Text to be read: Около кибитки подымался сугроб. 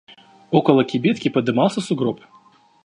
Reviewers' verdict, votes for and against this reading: accepted, 2, 0